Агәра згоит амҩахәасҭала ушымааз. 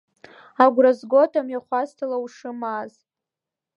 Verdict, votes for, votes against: accepted, 2, 0